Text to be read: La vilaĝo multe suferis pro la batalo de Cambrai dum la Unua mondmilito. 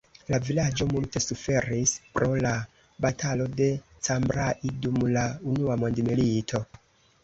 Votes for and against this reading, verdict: 1, 2, rejected